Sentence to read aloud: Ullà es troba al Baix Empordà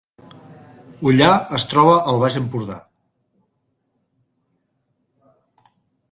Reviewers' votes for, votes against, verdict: 3, 0, accepted